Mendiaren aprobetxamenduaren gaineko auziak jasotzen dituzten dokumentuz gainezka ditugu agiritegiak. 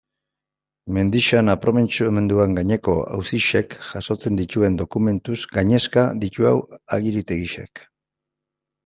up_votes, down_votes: 0, 2